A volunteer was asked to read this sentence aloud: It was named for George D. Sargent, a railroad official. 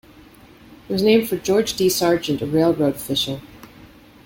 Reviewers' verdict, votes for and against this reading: accepted, 2, 0